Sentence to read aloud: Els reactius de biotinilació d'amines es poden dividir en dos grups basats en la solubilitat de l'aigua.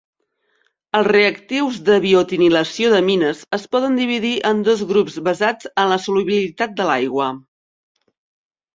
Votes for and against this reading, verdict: 2, 0, accepted